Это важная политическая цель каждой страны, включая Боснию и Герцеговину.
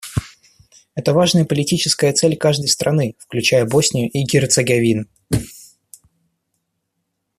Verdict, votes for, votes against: rejected, 1, 2